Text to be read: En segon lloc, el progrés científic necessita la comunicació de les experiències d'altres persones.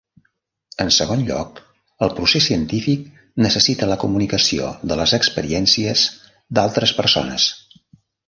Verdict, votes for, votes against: rejected, 0, 2